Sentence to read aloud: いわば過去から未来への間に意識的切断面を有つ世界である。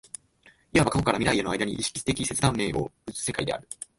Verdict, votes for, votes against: accepted, 3, 2